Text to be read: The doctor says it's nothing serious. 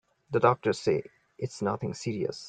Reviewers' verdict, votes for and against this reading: rejected, 0, 2